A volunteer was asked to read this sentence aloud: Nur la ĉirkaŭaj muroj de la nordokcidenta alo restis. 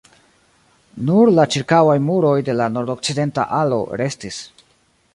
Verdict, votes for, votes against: rejected, 0, 2